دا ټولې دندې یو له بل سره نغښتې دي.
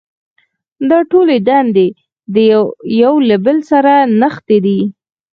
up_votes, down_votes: 4, 0